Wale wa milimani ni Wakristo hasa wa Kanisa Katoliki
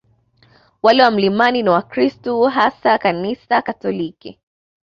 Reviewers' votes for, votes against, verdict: 2, 0, accepted